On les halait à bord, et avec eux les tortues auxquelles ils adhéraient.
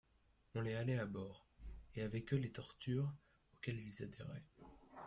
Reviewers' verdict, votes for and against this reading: rejected, 1, 2